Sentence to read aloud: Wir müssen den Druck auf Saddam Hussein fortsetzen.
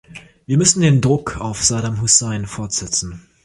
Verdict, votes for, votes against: rejected, 0, 3